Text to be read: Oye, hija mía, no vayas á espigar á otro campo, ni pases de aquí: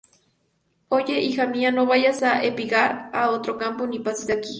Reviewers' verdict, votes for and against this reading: rejected, 0, 2